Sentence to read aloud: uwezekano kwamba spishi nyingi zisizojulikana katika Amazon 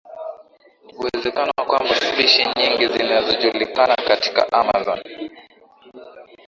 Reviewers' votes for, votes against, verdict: 7, 4, accepted